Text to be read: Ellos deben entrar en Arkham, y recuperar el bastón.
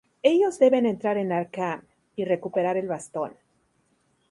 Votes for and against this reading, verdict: 2, 0, accepted